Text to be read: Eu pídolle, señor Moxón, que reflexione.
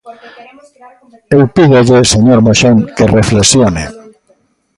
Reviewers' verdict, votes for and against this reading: rejected, 1, 2